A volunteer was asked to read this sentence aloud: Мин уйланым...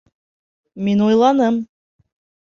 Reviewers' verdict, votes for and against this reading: accepted, 2, 0